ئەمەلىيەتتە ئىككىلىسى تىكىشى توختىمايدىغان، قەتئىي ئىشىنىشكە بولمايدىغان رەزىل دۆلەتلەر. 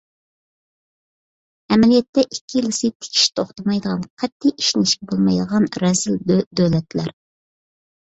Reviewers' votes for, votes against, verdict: 1, 2, rejected